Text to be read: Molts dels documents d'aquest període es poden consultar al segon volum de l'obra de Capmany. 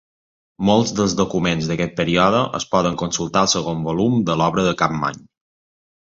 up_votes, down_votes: 2, 0